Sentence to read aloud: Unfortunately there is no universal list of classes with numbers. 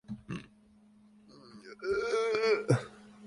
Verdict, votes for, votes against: rejected, 0, 2